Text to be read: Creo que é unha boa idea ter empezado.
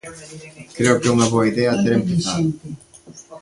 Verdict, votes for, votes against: rejected, 1, 2